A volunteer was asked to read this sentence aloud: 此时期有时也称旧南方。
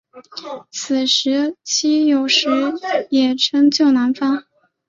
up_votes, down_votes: 2, 0